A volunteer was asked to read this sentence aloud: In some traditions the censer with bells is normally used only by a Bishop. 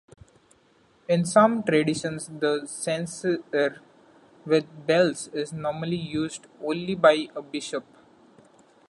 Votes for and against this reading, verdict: 1, 2, rejected